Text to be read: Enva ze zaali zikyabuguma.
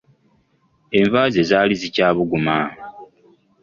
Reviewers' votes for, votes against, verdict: 2, 0, accepted